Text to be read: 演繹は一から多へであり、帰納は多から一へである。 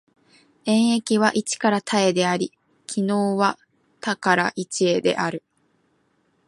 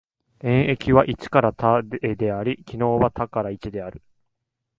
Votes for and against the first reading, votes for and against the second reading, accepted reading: 2, 0, 0, 2, first